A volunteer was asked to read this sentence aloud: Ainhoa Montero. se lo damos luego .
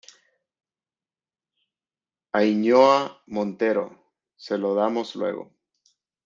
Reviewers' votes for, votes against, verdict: 1, 2, rejected